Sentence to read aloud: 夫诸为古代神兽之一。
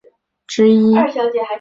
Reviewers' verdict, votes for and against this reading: rejected, 0, 2